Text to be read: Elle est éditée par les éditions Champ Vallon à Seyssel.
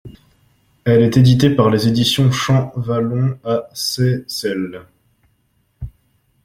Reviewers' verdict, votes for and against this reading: accepted, 2, 0